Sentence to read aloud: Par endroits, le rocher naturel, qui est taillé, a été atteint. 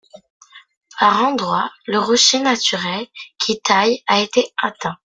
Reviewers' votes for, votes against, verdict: 2, 0, accepted